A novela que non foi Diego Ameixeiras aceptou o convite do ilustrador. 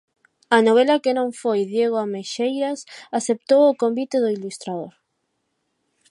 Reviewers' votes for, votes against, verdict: 4, 0, accepted